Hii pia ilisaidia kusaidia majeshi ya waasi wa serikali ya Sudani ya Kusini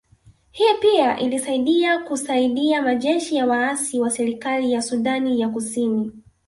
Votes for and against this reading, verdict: 2, 0, accepted